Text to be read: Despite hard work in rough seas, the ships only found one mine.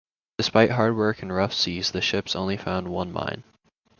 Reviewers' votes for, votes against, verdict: 2, 0, accepted